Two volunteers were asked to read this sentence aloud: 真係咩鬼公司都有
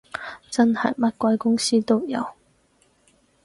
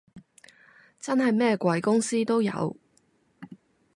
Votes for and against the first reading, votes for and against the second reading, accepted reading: 0, 4, 2, 0, second